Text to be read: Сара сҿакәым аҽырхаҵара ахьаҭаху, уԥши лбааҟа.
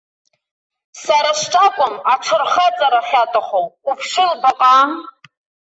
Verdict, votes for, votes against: rejected, 1, 2